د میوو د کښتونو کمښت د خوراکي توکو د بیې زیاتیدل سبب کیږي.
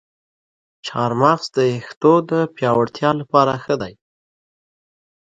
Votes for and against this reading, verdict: 1, 2, rejected